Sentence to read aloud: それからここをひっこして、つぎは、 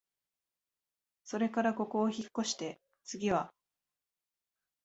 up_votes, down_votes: 2, 0